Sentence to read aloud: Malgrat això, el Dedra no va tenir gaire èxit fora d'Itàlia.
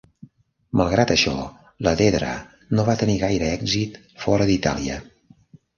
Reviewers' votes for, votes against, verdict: 0, 2, rejected